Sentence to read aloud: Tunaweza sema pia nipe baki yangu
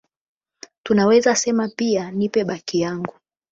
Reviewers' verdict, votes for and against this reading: accepted, 12, 0